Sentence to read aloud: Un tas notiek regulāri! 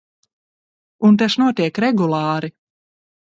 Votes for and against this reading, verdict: 2, 1, accepted